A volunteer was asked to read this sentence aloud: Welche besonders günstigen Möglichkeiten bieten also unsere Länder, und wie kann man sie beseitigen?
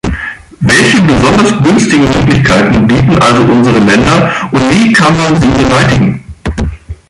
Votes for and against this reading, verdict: 1, 3, rejected